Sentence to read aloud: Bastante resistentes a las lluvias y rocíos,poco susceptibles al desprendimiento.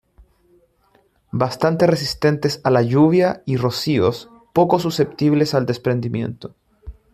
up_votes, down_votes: 0, 2